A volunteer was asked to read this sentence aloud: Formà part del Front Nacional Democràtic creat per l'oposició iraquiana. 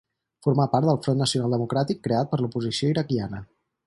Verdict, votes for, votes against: accepted, 6, 0